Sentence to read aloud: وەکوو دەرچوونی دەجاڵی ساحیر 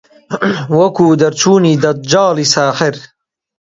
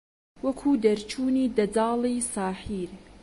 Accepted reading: second